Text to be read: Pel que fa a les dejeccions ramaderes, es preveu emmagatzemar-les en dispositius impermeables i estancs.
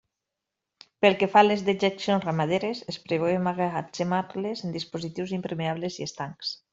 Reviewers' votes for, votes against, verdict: 1, 2, rejected